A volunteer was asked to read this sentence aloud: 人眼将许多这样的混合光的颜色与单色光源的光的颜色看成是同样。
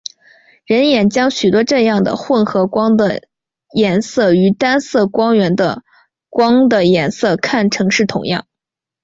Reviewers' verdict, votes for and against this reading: accepted, 3, 1